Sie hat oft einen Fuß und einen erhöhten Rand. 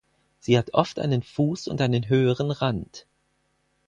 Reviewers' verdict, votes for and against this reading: rejected, 2, 6